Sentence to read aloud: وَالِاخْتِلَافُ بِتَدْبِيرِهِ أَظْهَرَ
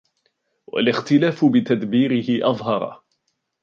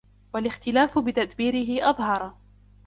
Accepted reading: first